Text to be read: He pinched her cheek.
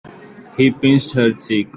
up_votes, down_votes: 1, 2